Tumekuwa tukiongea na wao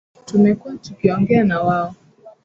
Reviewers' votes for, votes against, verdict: 0, 2, rejected